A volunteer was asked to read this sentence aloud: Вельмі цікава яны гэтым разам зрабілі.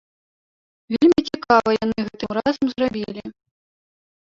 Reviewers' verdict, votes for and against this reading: rejected, 1, 2